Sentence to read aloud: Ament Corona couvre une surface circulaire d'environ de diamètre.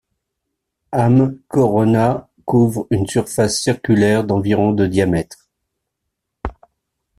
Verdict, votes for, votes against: rejected, 1, 2